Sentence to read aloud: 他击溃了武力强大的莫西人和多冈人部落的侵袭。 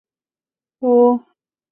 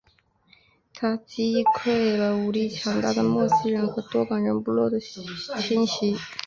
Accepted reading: second